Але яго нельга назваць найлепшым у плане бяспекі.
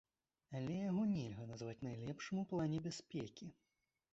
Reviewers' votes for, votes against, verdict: 1, 2, rejected